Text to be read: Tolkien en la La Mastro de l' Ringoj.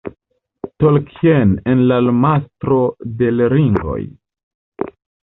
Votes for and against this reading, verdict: 1, 2, rejected